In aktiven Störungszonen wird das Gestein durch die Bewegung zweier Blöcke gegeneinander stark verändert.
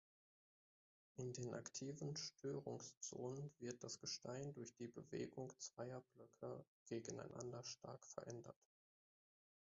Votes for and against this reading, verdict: 0, 2, rejected